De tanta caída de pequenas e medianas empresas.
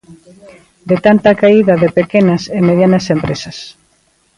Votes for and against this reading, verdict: 3, 0, accepted